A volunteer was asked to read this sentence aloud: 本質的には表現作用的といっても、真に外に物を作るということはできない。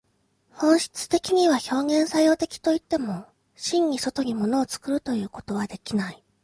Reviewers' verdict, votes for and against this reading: accepted, 2, 0